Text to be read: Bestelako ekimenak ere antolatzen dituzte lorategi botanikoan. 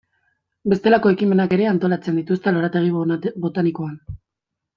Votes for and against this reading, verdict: 1, 3, rejected